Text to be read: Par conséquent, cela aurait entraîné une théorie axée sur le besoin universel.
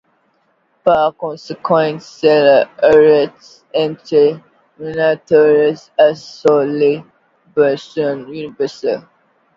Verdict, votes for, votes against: accepted, 2, 1